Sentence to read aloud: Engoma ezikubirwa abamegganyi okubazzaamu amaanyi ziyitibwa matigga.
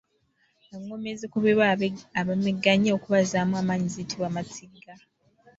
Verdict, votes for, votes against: rejected, 0, 2